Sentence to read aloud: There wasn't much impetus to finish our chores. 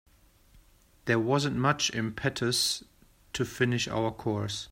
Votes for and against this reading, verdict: 1, 2, rejected